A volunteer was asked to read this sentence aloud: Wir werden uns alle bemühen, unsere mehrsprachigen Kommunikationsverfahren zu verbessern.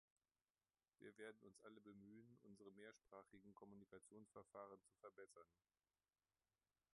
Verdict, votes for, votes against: rejected, 0, 2